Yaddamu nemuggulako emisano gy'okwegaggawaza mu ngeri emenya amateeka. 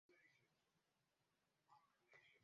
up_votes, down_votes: 0, 2